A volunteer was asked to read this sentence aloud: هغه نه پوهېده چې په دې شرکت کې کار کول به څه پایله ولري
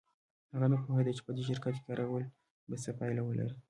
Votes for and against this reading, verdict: 2, 0, accepted